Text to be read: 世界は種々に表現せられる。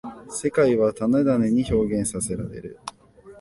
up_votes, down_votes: 1, 2